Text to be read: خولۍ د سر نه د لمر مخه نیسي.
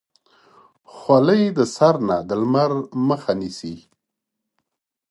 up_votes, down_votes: 3, 0